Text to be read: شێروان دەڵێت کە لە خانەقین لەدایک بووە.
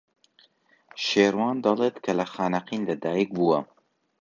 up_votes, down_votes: 2, 0